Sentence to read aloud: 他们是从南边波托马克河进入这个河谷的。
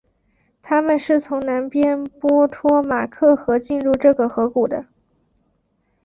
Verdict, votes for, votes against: accepted, 4, 0